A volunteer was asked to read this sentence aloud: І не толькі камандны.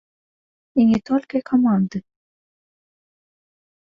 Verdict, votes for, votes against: rejected, 0, 2